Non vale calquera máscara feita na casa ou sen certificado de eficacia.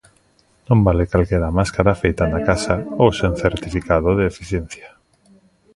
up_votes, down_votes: 1, 2